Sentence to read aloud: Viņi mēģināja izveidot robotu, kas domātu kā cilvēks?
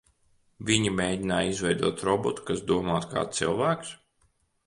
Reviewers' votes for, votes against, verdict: 2, 0, accepted